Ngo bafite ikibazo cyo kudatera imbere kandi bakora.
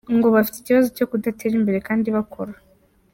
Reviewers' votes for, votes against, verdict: 2, 0, accepted